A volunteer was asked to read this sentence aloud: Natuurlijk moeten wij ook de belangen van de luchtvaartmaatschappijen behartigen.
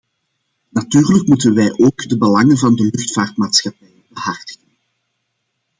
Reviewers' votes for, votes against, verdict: 0, 2, rejected